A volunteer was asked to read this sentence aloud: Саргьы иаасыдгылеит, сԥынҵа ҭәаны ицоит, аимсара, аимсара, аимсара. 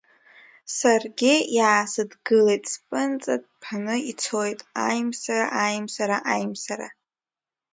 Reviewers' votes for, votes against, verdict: 0, 2, rejected